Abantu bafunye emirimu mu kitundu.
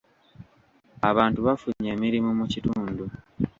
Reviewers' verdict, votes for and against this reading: accepted, 2, 0